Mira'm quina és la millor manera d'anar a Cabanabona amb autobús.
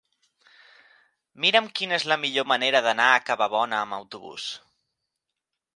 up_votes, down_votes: 0, 2